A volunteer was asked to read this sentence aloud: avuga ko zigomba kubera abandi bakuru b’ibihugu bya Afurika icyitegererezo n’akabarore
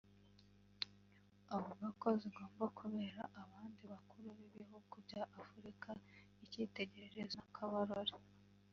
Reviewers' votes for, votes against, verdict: 1, 2, rejected